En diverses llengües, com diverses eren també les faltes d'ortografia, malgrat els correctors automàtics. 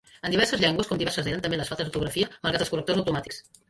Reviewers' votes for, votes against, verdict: 1, 3, rejected